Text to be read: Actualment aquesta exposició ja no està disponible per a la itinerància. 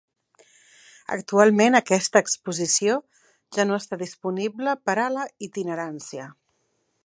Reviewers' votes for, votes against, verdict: 2, 0, accepted